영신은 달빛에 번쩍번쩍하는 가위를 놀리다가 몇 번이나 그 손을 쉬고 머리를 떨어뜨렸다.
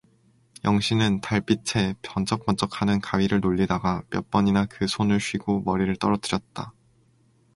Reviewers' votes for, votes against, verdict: 2, 2, rejected